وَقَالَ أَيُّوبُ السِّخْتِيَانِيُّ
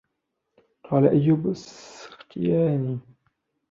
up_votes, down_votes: 1, 2